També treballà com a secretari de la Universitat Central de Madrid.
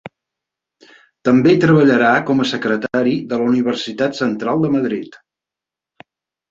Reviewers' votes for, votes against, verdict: 2, 4, rejected